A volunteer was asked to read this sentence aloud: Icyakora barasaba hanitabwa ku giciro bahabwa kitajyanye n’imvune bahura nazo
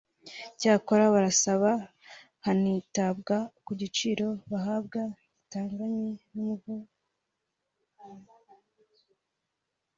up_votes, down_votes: 1, 3